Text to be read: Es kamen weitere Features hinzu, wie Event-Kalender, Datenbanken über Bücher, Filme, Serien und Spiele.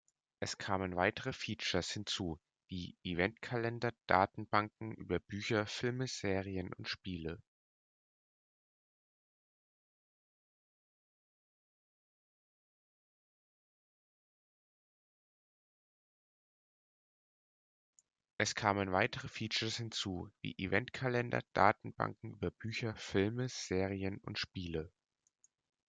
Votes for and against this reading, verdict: 0, 2, rejected